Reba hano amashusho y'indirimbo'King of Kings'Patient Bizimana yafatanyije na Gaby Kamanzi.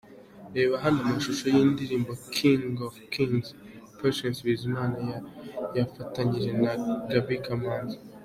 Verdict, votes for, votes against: rejected, 1, 2